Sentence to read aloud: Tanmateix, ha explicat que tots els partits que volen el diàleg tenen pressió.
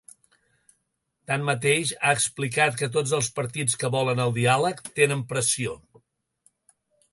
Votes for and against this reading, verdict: 2, 0, accepted